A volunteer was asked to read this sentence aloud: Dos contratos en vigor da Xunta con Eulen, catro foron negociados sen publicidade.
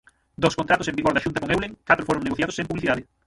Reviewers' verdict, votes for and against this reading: rejected, 0, 9